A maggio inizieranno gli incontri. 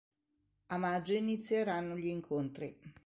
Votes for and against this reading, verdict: 2, 0, accepted